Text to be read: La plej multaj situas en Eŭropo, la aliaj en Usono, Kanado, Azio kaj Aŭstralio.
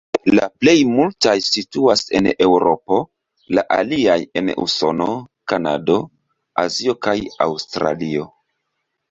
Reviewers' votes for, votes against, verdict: 2, 0, accepted